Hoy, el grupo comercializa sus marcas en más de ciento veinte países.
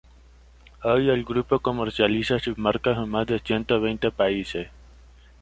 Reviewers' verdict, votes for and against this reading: rejected, 1, 2